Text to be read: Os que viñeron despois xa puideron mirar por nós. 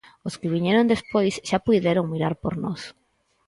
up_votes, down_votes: 4, 0